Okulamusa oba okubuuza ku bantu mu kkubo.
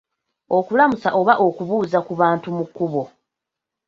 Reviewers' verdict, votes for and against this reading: rejected, 0, 2